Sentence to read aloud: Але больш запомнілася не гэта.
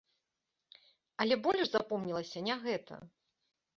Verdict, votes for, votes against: accepted, 2, 0